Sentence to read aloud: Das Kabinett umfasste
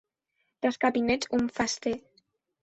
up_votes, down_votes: 2, 0